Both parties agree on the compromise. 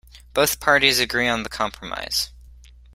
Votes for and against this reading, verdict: 2, 0, accepted